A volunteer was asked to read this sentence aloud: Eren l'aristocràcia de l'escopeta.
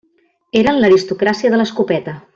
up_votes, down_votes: 3, 1